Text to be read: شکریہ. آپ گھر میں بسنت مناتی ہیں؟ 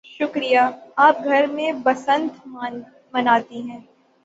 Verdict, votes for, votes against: rejected, 3, 3